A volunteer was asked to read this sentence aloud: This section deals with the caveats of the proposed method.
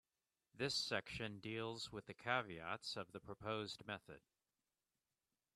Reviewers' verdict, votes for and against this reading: accepted, 2, 0